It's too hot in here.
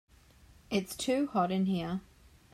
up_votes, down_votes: 2, 0